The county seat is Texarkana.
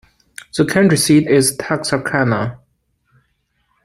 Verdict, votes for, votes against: rejected, 0, 2